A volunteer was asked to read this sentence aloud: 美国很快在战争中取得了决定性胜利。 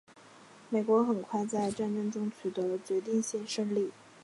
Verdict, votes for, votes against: accepted, 2, 0